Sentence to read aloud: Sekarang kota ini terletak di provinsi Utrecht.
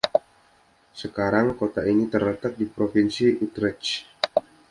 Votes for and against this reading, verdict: 2, 0, accepted